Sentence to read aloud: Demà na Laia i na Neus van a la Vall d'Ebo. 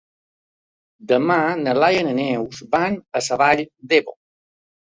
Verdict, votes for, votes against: rejected, 2, 3